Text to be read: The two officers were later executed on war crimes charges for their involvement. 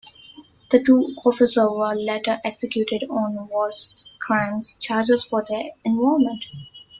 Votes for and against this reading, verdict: 2, 1, accepted